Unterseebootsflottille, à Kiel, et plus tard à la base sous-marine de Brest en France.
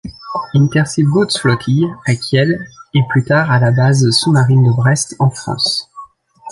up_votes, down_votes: 0, 2